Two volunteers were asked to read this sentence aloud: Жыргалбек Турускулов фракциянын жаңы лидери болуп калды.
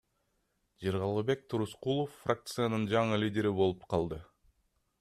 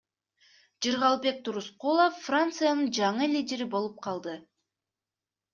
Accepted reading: first